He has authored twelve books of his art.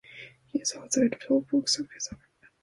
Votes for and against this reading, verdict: 0, 2, rejected